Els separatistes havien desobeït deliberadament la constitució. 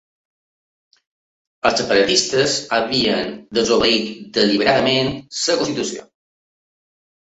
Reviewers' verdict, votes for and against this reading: rejected, 0, 2